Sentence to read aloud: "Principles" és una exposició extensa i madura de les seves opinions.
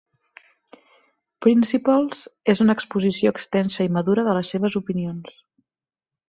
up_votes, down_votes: 2, 0